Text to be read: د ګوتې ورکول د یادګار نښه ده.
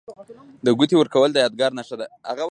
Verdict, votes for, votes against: rejected, 1, 2